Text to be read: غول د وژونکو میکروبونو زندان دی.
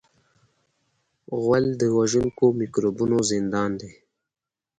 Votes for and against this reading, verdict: 2, 0, accepted